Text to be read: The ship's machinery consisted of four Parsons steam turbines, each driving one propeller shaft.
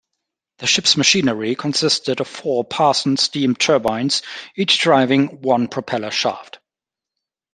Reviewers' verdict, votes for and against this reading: accepted, 2, 0